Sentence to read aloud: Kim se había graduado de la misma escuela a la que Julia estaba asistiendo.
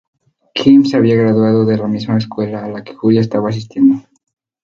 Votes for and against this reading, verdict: 2, 2, rejected